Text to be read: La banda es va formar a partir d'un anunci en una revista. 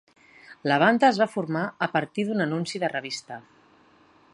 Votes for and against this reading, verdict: 0, 2, rejected